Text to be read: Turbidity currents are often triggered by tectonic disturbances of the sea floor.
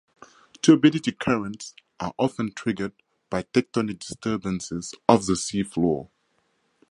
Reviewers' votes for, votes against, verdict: 4, 0, accepted